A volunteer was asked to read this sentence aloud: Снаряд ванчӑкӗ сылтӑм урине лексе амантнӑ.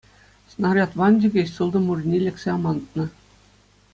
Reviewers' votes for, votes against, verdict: 2, 0, accepted